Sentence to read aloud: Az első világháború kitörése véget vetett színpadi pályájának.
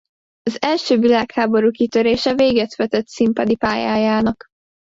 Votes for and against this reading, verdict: 2, 0, accepted